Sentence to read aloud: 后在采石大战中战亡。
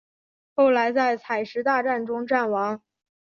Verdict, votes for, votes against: rejected, 2, 3